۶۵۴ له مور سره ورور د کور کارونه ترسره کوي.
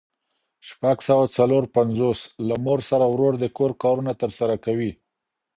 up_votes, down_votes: 0, 2